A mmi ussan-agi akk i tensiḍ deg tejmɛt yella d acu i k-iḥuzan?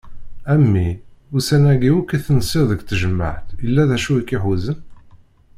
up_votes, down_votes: 1, 2